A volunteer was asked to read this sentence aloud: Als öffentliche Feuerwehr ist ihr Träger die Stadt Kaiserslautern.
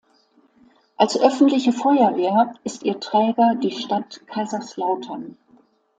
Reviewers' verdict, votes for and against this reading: accepted, 2, 0